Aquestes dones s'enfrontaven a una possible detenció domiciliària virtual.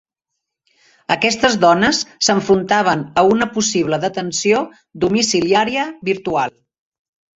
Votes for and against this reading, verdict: 1, 2, rejected